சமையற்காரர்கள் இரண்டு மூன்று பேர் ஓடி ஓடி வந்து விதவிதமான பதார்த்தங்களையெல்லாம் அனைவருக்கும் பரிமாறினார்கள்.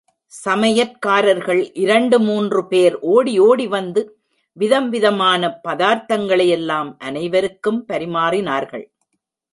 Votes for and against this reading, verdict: 1, 2, rejected